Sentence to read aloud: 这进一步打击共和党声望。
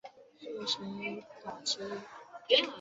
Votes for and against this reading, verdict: 0, 2, rejected